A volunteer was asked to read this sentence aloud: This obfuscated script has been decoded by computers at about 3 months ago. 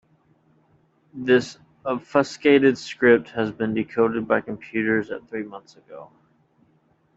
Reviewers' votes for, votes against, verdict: 0, 2, rejected